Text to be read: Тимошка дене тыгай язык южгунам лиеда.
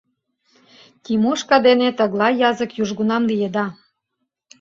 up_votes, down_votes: 0, 2